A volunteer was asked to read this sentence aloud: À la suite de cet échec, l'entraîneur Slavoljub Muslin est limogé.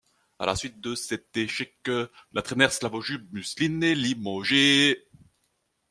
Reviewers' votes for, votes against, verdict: 1, 2, rejected